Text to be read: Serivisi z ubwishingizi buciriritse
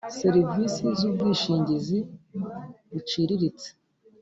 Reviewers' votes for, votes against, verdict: 0, 2, rejected